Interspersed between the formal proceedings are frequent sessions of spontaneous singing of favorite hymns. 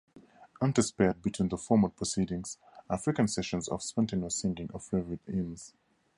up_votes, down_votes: 0, 2